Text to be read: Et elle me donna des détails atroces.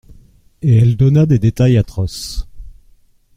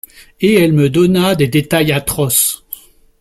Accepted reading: second